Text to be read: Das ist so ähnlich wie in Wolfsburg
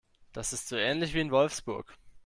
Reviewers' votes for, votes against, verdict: 2, 0, accepted